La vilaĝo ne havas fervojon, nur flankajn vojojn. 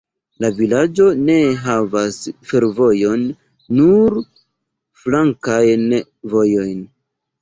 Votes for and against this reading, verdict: 2, 0, accepted